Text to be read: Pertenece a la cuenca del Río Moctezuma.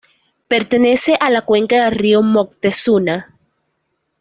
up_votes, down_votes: 1, 2